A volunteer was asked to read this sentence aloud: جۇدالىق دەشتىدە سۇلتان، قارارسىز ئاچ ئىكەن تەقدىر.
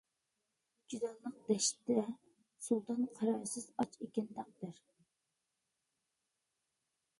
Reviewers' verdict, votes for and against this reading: rejected, 0, 2